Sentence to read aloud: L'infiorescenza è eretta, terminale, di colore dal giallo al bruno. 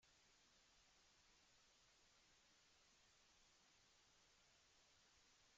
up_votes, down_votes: 0, 2